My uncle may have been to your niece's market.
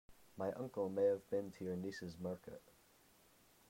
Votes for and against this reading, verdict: 1, 2, rejected